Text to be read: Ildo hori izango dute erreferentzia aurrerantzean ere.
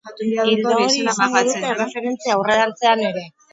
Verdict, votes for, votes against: rejected, 0, 6